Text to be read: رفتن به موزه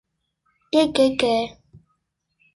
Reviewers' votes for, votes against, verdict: 0, 2, rejected